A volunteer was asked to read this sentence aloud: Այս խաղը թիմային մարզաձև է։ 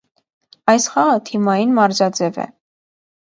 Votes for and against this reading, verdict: 2, 0, accepted